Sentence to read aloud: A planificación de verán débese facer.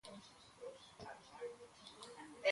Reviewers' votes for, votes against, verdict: 0, 2, rejected